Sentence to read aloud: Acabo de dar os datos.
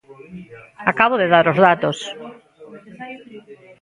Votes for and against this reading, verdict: 1, 2, rejected